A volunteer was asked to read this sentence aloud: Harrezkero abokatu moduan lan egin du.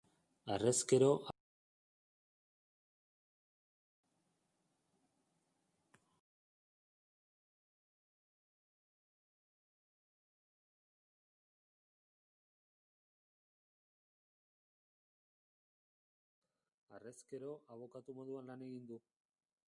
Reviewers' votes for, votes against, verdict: 0, 2, rejected